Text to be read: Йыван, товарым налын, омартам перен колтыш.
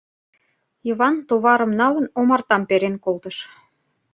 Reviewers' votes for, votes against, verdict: 2, 0, accepted